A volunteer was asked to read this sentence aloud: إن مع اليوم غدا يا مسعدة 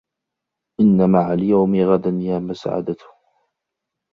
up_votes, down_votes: 2, 0